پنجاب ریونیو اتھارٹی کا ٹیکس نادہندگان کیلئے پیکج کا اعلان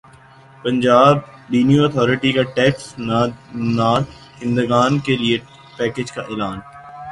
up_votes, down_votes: 1, 2